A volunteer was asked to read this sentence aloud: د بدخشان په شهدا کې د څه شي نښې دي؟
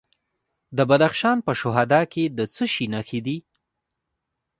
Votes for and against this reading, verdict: 0, 2, rejected